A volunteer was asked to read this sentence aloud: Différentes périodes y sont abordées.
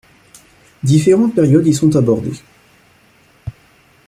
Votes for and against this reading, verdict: 2, 0, accepted